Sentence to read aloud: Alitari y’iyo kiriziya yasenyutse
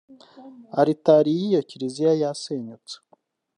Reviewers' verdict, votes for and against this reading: rejected, 0, 2